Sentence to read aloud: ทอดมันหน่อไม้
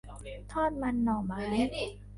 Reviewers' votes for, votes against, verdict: 0, 2, rejected